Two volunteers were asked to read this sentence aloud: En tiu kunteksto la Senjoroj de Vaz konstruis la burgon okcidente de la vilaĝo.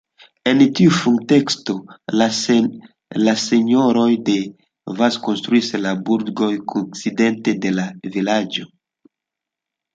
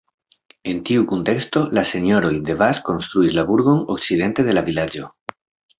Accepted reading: second